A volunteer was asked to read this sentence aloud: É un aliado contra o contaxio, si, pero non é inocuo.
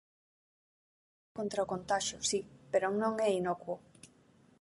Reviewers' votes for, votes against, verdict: 1, 2, rejected